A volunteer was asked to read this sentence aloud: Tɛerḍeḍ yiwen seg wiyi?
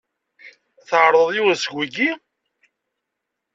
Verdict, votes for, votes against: accepted, 2, 0